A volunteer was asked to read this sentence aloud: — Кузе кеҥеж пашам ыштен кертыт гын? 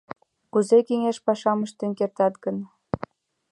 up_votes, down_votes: 1, 2